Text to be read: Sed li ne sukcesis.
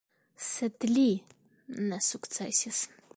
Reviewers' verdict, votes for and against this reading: accepted, 2, 1